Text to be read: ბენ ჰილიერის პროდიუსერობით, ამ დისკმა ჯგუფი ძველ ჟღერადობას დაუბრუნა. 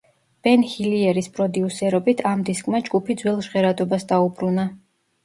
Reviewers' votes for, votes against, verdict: 2, 1, accepted